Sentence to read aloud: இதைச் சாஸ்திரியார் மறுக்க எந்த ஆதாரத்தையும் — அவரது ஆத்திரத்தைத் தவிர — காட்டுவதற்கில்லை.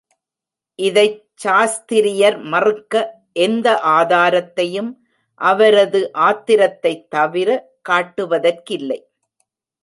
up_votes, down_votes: 0, 2